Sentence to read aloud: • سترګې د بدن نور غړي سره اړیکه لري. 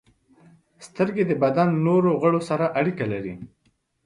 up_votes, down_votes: 2, 0